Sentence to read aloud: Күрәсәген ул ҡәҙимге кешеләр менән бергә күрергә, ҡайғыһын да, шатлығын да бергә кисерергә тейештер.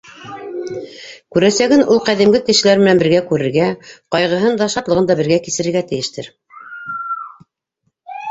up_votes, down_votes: 2, 1